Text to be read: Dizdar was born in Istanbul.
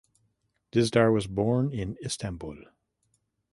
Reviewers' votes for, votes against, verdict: 2, 0, accepted